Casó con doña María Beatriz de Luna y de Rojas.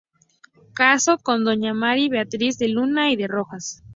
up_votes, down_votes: 0, 2